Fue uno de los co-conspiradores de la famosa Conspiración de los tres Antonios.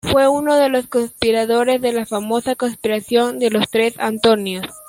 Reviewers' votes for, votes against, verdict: 2, 1, accepted